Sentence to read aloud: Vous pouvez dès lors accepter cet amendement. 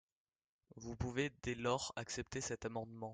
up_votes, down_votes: 2, 0